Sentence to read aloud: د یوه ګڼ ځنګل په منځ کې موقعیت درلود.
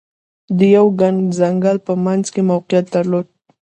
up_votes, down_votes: 2, 0